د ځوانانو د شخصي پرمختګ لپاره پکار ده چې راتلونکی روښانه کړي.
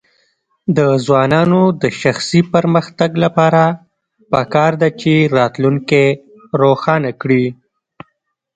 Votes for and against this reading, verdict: 0, 2, rejected